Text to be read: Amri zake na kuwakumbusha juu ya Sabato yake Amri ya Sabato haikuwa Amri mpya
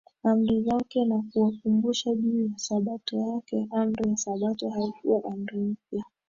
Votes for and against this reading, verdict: 1, 2, rejected